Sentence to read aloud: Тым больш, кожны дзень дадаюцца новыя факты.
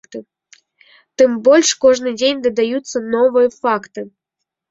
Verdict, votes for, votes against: accepted, 2, 0